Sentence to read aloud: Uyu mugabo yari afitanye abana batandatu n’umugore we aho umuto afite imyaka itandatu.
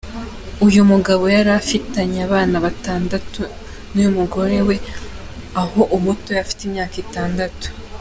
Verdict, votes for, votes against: accepted, 2, 1